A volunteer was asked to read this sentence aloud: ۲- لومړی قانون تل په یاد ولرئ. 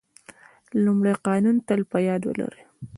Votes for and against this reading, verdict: 0, 2, rejected